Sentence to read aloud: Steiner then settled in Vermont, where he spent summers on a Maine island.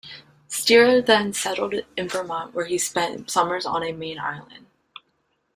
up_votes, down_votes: 2, 1